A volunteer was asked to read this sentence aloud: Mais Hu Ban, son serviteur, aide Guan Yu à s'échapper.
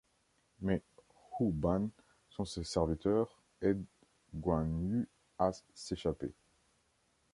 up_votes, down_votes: 1, 2